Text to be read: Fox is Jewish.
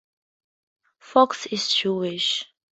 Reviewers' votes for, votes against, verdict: 2, 0, accepted